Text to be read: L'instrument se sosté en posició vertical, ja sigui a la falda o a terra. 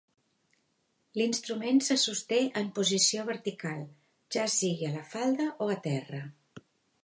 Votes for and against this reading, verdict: 3, 0, accepted